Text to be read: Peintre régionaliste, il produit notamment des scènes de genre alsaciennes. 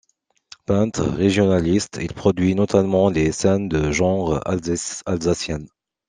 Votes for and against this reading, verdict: 0, 2, rejected